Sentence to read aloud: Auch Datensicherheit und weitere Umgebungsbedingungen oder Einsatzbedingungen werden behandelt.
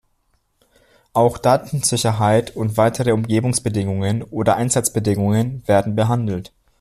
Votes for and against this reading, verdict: 2, 0, accepted